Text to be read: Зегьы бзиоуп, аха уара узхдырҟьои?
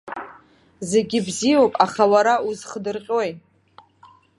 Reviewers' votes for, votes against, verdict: 2, 0, accepted